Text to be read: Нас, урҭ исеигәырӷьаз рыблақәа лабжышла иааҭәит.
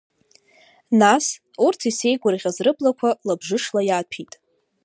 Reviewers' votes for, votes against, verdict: 2, 1, accepted